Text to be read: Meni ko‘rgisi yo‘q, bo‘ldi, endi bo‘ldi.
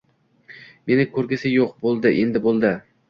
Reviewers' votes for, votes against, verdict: 2, 0, accepted